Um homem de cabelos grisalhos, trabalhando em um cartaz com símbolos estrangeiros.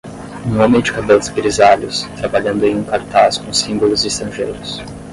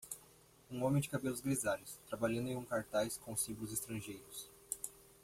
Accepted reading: second